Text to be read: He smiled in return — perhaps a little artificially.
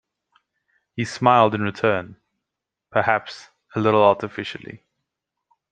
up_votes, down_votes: 2, 0